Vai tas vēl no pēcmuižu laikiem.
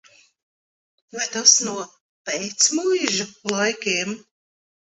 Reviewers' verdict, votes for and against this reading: rejected, 0, 2